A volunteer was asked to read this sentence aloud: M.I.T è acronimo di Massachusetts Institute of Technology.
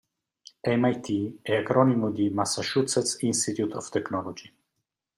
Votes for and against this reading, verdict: 2, 0, accepted